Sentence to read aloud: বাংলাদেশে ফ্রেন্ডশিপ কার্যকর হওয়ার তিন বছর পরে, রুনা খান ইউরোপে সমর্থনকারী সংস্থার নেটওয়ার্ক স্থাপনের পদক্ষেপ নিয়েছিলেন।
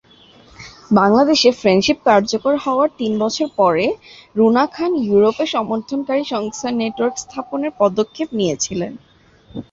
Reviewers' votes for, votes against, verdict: 2, 2, rejected